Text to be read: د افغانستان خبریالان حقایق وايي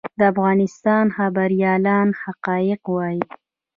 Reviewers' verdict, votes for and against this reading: rejected, 0, 2